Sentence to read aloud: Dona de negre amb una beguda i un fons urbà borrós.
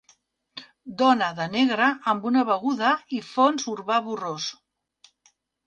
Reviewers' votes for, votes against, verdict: 1, 2, rejected